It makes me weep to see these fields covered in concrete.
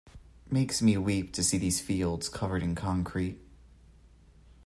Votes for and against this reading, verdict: 2, 1, accepted